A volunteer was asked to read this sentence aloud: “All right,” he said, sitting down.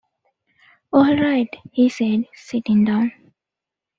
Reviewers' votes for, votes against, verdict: 2, 0, accepted